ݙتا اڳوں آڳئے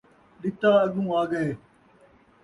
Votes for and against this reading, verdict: 2, 0, accepted